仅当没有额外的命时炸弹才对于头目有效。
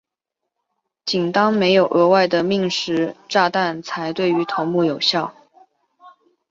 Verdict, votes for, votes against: accepted, 3, 0